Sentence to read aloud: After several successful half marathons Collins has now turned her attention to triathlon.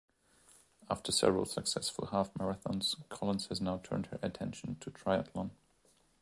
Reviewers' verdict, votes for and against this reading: accepted, 3, 0